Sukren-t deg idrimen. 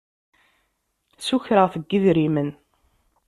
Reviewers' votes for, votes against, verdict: 1, 2, rejected